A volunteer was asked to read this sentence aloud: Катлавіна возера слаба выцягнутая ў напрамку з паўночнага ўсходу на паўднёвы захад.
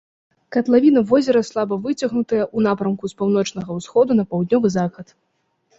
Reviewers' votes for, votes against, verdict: 0, 2, rejected